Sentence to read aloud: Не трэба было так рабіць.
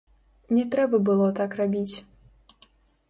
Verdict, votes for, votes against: rejected, 0, 2